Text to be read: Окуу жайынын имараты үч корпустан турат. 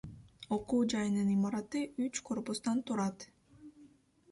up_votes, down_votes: 2, 0